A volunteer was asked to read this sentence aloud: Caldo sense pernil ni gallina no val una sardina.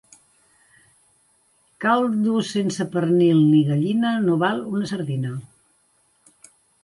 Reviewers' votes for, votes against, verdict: 3, 0, accepted